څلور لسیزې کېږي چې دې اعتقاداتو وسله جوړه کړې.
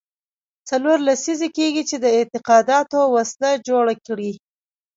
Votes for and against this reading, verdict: 1, 2, rejected